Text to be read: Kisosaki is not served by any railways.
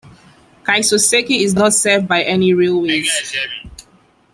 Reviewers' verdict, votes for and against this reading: accepted, 2, 0